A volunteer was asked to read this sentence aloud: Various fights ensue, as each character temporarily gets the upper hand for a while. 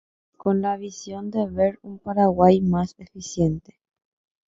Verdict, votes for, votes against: rejected, 1, 2